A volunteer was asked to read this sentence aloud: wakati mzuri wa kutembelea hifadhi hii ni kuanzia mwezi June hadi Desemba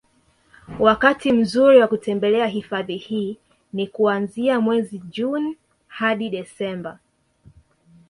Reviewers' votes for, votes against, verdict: 2, 1, accepted